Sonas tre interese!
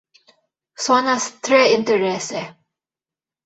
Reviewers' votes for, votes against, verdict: 2, 0, accepted